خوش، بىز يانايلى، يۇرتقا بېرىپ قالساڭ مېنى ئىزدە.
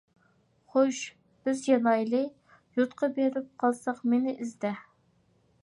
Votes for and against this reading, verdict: 1, 2, rejected